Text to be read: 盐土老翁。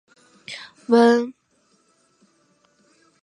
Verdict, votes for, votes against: rejected, 0, 2